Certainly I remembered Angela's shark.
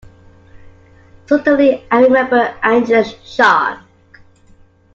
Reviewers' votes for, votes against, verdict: 2, 1, accepted